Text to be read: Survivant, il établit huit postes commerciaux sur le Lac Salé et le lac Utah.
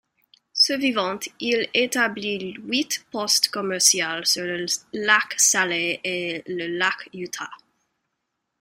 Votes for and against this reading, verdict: 0, 2, rejected